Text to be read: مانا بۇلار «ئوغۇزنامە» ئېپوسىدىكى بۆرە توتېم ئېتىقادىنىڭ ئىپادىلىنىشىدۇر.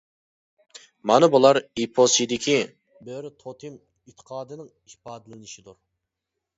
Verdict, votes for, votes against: rejected, 0, 2